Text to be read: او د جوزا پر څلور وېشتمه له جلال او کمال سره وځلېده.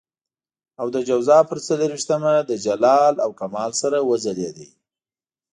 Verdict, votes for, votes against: rejected, 0, 2